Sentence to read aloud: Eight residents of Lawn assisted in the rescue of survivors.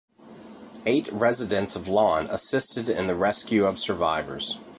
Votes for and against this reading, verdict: 2, 0, accepted